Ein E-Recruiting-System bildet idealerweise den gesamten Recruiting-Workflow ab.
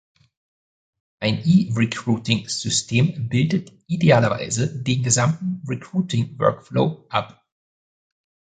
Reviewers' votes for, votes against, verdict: 1, 2, rejected